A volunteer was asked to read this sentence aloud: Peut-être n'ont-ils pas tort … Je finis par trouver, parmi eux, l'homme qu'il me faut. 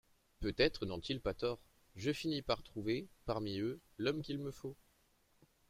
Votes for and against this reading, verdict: 0, 2, rejected